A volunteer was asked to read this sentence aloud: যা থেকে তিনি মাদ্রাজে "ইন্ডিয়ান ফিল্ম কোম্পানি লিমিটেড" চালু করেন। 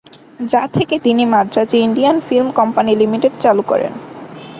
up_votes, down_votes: 2, 0